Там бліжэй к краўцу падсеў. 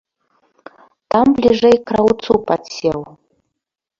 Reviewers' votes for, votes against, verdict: 1, 2, rejected